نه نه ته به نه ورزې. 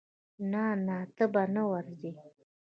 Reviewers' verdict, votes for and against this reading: rejected, 1, 2